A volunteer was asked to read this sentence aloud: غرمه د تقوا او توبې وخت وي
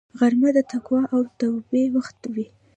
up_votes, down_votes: 2, 0